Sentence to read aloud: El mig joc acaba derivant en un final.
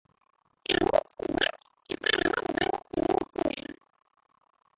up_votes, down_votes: 0, 2